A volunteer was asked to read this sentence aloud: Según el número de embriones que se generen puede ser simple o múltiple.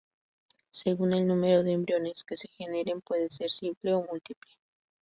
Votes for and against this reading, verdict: 2, 0, accepted